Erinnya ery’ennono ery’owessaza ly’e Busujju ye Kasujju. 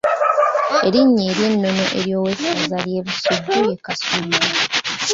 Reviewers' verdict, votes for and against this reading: rejected, 0, 2